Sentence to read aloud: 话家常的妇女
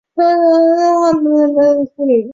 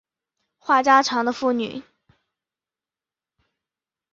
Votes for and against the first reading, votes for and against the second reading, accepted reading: 0, 3, 3, 0, second